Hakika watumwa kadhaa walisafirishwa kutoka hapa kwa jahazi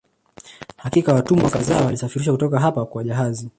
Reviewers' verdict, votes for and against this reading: rejected, 0, 2